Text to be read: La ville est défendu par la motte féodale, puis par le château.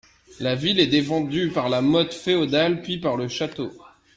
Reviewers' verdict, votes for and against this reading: accepted, 2, 0